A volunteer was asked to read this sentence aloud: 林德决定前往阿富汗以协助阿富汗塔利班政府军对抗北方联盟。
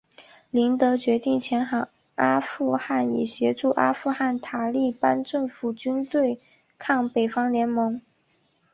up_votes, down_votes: 5, 2